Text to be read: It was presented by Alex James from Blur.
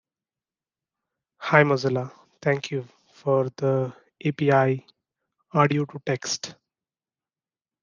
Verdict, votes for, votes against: rejected, 0, 2